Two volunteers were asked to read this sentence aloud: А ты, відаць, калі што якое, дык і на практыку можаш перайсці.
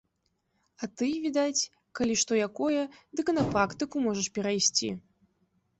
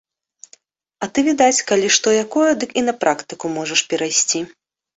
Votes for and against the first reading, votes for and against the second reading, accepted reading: 1, 2, 2, 1, second